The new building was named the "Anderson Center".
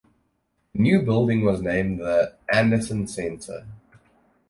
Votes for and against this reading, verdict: 0, 4, rejected